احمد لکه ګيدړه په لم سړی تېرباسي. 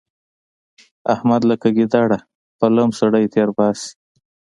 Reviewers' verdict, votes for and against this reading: accepted, 2, 0